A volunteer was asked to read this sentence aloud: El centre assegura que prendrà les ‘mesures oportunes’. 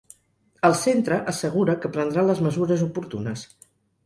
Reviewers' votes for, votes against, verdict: 6, 0, accepted